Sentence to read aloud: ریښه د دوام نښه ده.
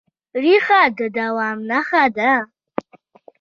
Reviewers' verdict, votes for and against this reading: accepted, 2, 0